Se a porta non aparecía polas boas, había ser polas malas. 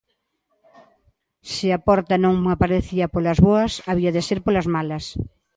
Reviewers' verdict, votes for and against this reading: rejected, 1, 2